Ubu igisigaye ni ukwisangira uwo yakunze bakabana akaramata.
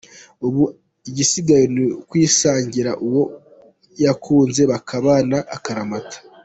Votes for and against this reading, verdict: 2, 1, accepted